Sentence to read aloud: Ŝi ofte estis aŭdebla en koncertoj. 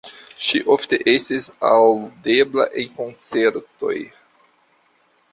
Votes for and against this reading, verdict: 2, 0, accepted